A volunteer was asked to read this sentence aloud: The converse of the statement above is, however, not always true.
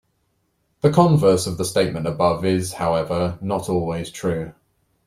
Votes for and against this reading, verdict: 2, 0, accepted